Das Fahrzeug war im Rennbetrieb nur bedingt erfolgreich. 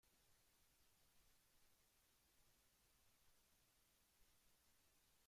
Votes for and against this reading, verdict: 0, 2, rejected